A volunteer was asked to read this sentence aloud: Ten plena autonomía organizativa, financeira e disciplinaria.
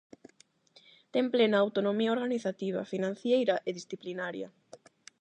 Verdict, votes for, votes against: rejected, 0, 8